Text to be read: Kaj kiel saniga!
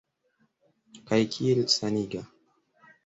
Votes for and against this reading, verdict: 2, 0, accepted